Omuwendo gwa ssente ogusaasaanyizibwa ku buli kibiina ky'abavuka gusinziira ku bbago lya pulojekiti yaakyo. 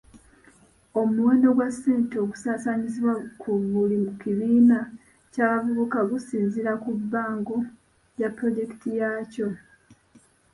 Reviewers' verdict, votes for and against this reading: rejected, 1, 2